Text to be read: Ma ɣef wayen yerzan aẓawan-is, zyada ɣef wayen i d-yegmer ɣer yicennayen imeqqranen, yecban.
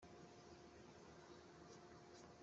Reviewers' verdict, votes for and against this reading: rejected, 0, 2